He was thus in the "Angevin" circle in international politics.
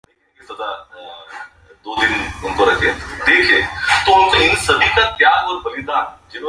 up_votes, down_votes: 0, 2